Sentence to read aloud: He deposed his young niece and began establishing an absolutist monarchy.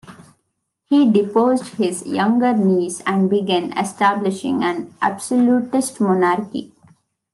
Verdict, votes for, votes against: rejected, 0, 2